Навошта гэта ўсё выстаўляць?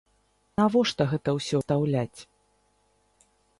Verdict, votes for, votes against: rejected, 0, 3